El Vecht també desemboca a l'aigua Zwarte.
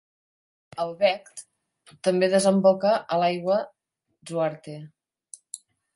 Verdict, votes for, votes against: accepted, 2, 0